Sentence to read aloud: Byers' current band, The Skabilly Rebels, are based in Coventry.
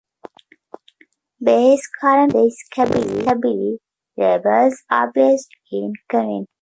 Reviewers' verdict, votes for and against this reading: rejected, 0, 2